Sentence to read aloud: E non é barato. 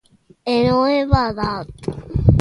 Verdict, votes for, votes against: rejected, 0, 2